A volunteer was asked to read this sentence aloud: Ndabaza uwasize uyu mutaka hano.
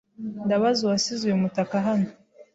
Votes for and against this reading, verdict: 2, 0, accepted